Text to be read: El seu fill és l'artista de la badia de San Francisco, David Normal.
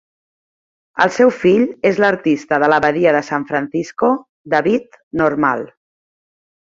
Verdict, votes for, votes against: accepted, 3, 0